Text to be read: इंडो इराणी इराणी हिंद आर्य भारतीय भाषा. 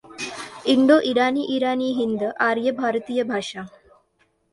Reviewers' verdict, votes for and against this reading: accepted, 2, 1